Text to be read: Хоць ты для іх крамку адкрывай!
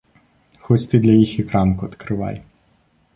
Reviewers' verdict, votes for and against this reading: rejected, 2, 3